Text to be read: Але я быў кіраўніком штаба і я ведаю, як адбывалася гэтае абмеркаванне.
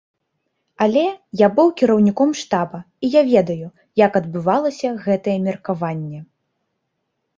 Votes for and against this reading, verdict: 1, 3, rejected